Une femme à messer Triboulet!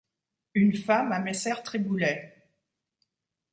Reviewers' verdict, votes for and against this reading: accepted, 2, 0